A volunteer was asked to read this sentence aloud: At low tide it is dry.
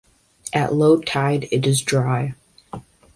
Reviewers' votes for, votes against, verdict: 2, 0, accepted